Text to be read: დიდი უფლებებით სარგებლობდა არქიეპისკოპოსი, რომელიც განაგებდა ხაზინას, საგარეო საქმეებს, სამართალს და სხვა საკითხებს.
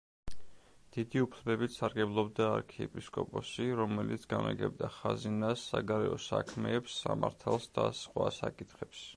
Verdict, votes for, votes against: rejected, 1, 2